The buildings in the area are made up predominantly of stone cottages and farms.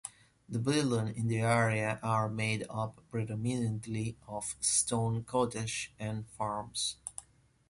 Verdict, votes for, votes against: accepted, 2, 1